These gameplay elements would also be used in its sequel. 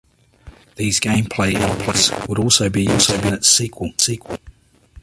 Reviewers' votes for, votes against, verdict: 0, 2, rejected